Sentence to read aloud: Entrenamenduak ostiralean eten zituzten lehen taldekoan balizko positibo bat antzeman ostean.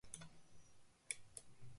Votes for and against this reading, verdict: 0, 2, rejected